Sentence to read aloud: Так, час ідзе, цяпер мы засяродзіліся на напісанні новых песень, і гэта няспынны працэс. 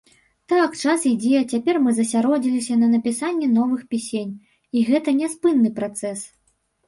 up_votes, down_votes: 0, 2